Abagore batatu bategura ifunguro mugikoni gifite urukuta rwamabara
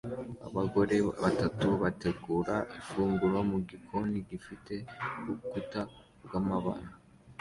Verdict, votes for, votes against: accepted, 2, 0